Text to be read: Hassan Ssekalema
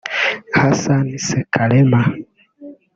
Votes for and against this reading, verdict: 1, 2, rejected